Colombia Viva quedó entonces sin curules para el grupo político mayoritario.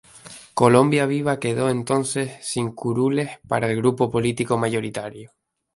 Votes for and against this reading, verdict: 4, 0, accepted